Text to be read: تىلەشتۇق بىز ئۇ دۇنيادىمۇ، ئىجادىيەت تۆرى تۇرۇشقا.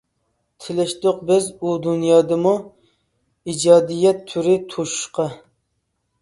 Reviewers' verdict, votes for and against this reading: rejected, 0, 2